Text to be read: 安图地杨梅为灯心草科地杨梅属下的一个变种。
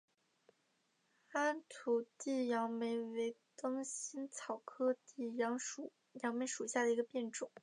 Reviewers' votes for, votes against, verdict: 1, 3, rejected